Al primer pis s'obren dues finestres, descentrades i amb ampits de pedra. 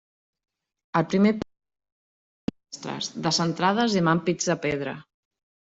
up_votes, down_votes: 0, 2